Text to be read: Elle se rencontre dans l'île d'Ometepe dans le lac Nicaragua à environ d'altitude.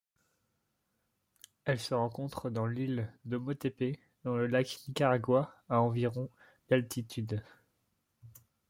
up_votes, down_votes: 0, 2